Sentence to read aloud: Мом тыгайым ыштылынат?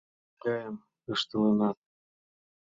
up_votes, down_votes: 0, 2